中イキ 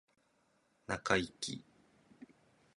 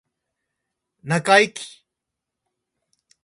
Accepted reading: first